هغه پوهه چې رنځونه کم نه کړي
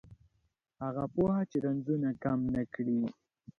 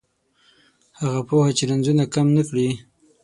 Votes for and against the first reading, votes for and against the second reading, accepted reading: 1, 2, 9, 0, second